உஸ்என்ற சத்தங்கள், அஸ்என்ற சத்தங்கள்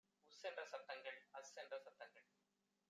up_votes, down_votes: 1, 2